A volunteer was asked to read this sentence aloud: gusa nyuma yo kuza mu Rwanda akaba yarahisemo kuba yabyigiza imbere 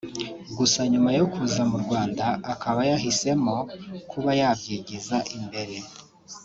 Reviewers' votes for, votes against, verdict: 1, 2, rejected